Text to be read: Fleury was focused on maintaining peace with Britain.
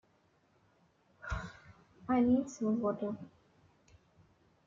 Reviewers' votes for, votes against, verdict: 0, 2, rejected